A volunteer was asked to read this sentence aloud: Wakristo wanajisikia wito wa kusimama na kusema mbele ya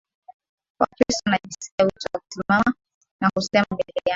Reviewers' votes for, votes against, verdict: 0, 2, rejected